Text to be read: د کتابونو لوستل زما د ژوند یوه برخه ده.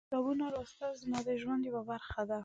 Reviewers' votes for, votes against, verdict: 1, 2, rejected